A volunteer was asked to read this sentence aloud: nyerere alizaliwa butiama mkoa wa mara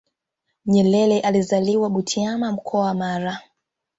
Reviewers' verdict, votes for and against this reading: accepted, 2, 0